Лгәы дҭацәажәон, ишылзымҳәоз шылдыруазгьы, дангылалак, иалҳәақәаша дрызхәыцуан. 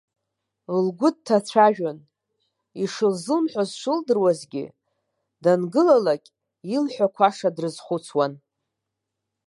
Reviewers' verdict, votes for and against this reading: accepted, 2, 1